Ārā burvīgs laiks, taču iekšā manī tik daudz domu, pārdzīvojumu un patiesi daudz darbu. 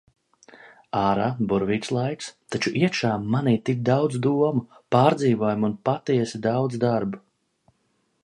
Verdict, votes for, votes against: accepted, 2, 0